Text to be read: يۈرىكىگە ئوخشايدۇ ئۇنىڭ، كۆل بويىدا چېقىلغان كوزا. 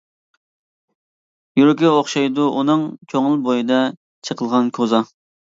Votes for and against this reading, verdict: 0, 2, rejected